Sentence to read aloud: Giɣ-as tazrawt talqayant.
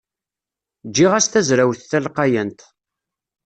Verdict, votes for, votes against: rejected, 1, 2